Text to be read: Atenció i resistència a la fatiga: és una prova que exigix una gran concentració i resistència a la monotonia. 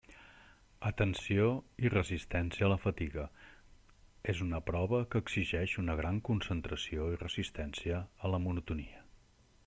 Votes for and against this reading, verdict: 0, 2, rejected